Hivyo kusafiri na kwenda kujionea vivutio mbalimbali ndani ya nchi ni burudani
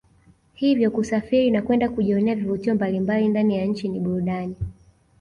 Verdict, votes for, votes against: rejected, 1, 2